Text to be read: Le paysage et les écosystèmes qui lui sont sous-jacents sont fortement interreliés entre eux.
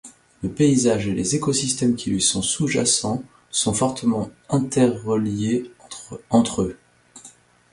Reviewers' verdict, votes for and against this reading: rejected, 0, 2